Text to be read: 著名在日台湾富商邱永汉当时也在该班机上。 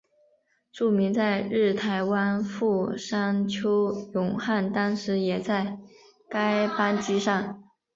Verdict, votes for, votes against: accepted, 2, 0